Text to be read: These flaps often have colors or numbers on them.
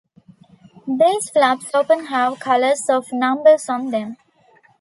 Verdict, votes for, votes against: rejected, 0, 2